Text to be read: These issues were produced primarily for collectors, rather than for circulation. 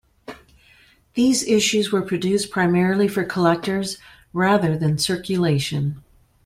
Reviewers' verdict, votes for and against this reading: accepted, 2, 1